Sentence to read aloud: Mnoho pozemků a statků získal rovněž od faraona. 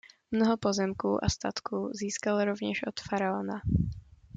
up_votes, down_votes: 2, 0